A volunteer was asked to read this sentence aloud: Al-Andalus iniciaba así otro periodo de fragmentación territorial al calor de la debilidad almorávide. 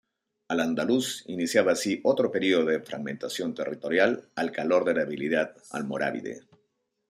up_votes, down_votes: 0, 2